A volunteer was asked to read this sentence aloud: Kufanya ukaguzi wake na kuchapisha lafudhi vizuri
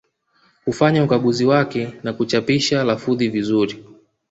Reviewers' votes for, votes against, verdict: 0, 2, rejected